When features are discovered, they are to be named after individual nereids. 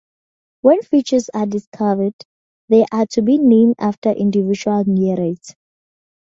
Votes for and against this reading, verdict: 2, 0, accepted